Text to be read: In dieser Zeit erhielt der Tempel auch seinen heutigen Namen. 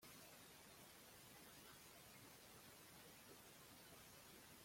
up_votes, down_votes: 0, 2